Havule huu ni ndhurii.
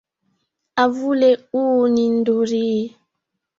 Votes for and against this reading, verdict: 2, 1, accepted